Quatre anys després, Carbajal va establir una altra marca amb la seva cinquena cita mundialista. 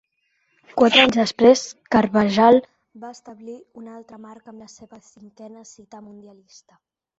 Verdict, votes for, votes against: rejected, 0, 2